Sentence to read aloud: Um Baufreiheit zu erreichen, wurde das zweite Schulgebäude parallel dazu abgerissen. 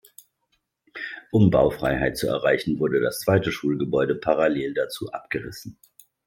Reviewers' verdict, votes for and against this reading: accepted, 2, 0